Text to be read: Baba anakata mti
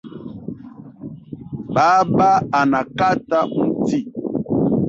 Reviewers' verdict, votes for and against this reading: rejected, 2, 3